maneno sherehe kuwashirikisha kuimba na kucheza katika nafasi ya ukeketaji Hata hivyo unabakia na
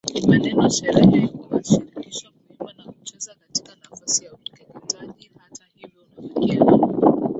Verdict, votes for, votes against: rejected, 0, 2